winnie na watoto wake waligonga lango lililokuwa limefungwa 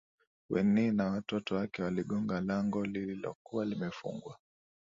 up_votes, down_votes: 2, 0